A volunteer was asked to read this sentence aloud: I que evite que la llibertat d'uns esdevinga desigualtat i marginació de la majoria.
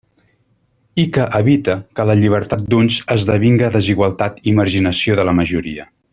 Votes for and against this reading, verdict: 0, 2, rejected